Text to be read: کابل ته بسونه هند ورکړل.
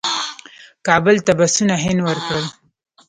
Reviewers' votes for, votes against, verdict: 2, 0, accepted